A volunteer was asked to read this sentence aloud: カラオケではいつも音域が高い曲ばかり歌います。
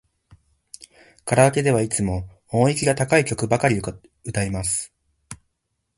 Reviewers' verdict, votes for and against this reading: accepted, 2, 1